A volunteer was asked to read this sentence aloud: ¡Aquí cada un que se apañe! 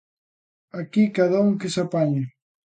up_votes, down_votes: 2, 0